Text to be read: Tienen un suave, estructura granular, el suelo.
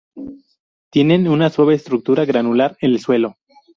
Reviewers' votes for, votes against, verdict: 0, 2, rejected